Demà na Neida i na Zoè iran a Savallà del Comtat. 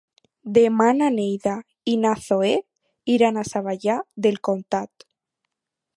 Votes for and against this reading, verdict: 4, 0, accepted